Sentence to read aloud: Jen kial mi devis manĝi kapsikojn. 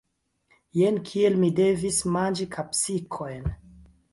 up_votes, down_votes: 2, 3